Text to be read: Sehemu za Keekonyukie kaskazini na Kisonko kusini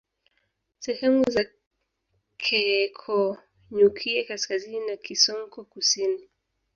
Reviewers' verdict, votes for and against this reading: rejected, 0, 2